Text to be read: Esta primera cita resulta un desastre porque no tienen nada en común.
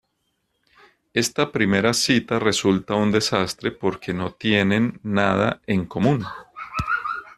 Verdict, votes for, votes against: rejected, 0, 2